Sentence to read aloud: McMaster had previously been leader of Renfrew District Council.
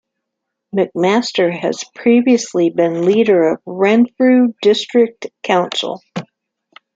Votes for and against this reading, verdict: 0, 2, rejected